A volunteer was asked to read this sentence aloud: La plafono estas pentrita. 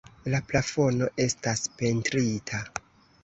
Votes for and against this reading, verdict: 2, 1, accepted